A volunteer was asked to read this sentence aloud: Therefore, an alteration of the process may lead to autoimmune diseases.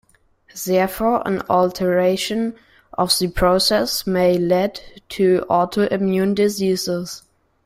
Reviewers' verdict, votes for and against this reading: rejected, 1, 2